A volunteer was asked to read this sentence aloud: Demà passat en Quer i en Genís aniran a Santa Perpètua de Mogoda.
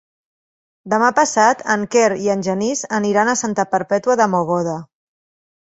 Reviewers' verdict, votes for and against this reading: accepted, 4, 0